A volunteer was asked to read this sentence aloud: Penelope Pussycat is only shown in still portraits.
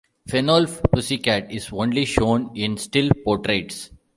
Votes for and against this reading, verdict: 1, 2, rejected